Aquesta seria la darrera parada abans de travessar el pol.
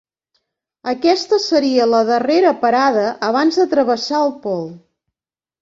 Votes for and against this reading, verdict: 2, 0, accepted